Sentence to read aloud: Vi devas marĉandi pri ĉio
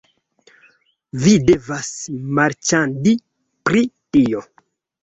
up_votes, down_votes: 0, 3